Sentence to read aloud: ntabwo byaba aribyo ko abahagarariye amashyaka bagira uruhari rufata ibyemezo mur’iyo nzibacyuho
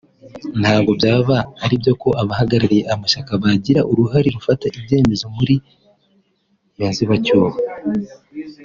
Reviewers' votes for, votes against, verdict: 2, 1, accepted